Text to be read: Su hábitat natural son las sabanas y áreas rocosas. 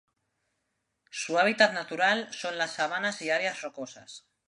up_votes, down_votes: 0, 2